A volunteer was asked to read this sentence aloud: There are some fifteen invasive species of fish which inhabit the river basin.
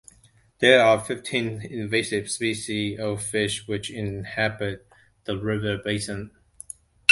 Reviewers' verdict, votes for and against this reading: rejected, 1, 2